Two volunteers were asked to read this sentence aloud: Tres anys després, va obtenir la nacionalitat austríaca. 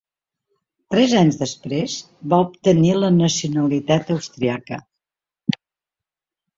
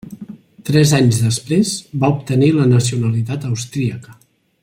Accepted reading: second